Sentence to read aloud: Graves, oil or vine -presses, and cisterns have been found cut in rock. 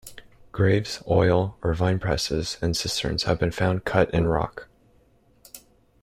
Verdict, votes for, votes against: accepted, 2, 0